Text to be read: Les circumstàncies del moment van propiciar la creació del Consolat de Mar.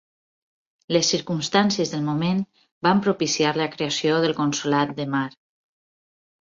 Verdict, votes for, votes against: accepted, 6, 0